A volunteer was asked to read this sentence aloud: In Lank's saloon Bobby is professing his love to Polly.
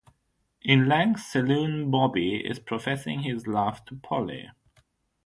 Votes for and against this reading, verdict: 3, 6, rejected